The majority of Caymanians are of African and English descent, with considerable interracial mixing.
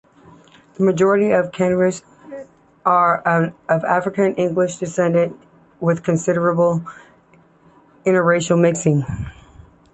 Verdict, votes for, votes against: rejected, 0, 2